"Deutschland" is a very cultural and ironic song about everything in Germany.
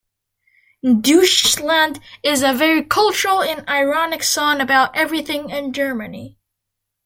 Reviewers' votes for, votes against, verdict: 0, 2, rejected